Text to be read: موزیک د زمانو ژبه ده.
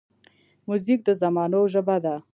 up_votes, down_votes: 1, 2